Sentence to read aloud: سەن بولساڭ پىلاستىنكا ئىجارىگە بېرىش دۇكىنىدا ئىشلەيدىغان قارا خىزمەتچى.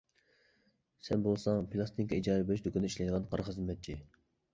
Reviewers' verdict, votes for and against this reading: accepted, 2, 1